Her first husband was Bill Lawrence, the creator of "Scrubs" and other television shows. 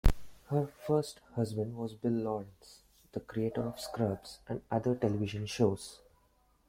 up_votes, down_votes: 2, 1